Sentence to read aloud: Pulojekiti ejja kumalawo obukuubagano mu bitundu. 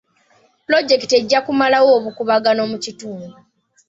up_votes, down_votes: 1, 2